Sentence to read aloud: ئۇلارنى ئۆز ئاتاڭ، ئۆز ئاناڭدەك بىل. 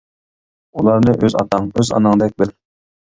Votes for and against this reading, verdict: 2, 0, accepted